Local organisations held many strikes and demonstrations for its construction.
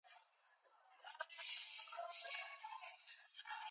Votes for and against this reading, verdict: 0, 2, rejected